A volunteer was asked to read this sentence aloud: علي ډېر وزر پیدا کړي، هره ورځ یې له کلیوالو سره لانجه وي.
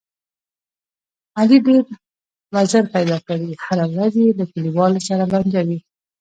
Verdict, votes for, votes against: rejected, 1, 2